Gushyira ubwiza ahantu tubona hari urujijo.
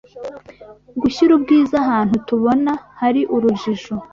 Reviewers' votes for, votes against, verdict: 2, 0, accepted